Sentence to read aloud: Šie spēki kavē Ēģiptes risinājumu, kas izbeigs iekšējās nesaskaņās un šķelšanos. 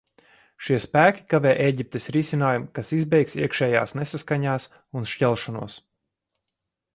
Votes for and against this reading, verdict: 2, 0, accepted